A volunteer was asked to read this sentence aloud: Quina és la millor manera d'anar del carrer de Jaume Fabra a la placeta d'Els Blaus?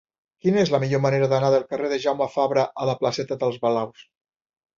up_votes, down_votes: 1, 2